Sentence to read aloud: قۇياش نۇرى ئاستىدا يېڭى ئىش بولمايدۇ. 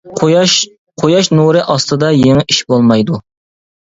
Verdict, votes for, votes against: rejected, 1, 2